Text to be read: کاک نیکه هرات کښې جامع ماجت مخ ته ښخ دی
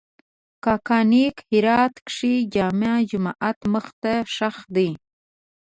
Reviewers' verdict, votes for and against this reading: rejected, 1, 2